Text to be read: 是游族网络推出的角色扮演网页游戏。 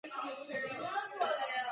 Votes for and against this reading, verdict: 2, 3, rejected